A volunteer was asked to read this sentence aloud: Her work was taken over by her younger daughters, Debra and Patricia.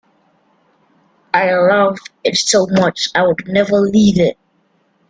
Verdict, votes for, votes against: rejected, 0, 2